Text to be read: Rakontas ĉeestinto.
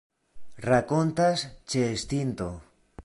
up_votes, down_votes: 2, 0